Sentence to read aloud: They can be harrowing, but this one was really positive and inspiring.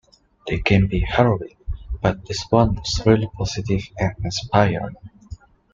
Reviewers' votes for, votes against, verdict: 2, 0, accepted